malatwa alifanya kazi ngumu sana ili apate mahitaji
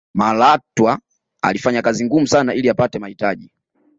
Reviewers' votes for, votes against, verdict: 2, 0, accepted